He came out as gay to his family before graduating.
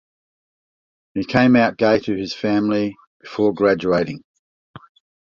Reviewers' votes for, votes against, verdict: 0, 2, rejected